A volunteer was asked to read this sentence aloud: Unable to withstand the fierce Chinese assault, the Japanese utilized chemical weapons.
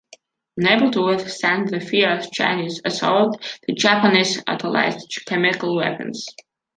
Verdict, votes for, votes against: accepted, 2, 0